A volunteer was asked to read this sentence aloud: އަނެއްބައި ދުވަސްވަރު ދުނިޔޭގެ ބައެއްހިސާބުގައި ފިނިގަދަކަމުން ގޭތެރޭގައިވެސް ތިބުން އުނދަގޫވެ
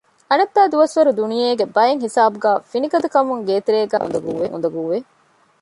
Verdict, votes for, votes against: rejected, 0, 2